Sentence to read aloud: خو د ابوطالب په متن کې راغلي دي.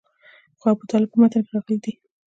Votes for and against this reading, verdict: 0, 2, rejected